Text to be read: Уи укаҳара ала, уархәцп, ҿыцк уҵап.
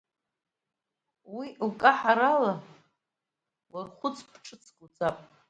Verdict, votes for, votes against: rejected, 0, 2